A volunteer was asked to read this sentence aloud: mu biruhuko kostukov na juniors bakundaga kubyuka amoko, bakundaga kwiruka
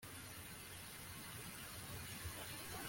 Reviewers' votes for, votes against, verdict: 1, 2, rejected